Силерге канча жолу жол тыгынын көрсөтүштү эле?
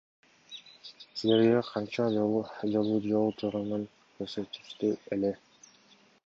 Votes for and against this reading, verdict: 1, 2, rejected